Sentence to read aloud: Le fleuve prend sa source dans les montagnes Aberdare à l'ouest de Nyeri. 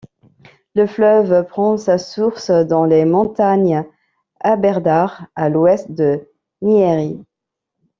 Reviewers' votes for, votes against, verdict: 1, 2, rejected